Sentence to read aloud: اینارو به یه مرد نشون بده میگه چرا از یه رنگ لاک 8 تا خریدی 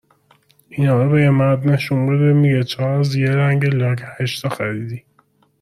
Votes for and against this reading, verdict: 0, 2, rejected